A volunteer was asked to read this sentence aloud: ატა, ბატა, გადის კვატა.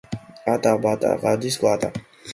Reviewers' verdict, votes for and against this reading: accepted, 2, 0